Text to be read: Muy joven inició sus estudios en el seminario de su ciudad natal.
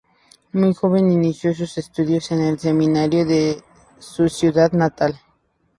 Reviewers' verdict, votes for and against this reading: accepted, 2, 0